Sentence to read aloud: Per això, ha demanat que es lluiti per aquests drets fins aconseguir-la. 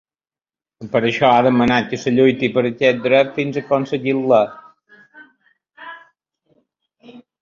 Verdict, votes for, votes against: rejected, 0, 2